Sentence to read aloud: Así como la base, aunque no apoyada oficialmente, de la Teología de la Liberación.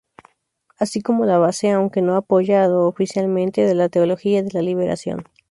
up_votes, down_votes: 2, 0